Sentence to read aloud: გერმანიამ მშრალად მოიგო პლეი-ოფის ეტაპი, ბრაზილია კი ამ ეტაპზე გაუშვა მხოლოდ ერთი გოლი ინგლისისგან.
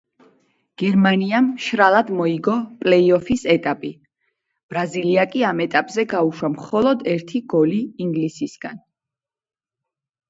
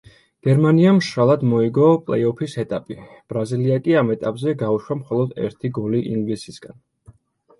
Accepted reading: second